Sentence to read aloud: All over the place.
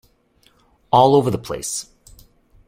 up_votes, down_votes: 2, 0